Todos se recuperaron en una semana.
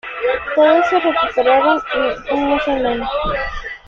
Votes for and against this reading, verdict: 1, 2, rejected